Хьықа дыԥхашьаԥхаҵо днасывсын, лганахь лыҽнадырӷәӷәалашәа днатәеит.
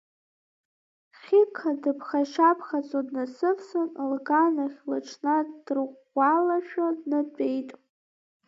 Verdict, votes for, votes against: accepted, 3, 1